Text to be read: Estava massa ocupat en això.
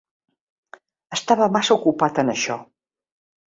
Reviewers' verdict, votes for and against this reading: accepted, 3, 0